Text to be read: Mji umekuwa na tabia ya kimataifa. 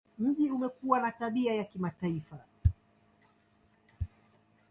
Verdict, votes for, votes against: accepted, 2, 0